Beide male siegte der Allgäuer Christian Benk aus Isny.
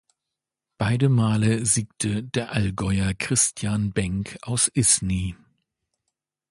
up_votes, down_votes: 2, 0